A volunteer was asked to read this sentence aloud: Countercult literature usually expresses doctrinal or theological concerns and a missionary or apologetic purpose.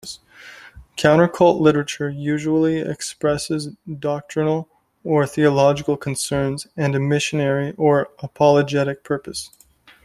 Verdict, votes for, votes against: accepted, 2, 0